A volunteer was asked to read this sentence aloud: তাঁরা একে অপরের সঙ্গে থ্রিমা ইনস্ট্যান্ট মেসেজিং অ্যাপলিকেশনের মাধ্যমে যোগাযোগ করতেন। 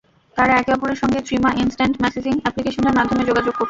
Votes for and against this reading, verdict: 0, 2, rejected